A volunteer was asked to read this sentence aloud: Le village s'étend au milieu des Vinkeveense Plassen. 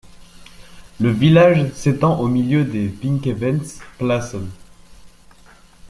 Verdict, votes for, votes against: accepted, 2, 0